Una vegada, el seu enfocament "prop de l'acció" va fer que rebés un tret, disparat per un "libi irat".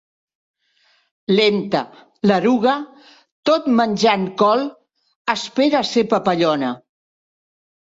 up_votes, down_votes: 0, 2